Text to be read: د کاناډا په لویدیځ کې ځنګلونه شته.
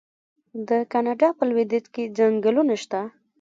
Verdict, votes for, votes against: rejected, 0, 2